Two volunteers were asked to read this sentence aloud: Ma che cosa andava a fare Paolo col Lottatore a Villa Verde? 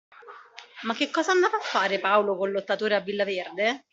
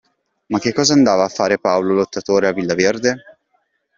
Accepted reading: first